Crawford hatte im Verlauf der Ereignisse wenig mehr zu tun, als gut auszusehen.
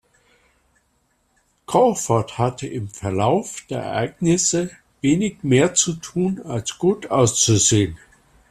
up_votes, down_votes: 2, 0